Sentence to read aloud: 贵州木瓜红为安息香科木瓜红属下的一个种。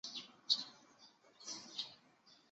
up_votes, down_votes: 2, 3